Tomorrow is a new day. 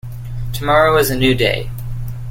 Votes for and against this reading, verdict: 2, 0, accepted